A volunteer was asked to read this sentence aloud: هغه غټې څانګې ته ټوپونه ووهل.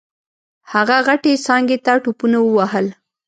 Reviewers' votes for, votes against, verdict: 2, 0, accepted